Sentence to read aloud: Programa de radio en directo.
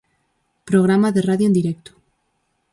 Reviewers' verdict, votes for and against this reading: accepted, 6, 0